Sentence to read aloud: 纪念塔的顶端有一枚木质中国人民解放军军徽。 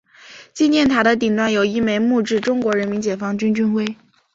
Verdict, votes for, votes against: accepted, 2, 0